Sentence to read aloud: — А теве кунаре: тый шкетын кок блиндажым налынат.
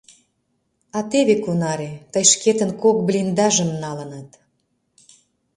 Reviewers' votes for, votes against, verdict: 1, 2, rejected